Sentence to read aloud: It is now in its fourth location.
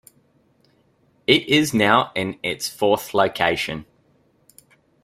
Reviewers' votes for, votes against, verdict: 2, 0, accepted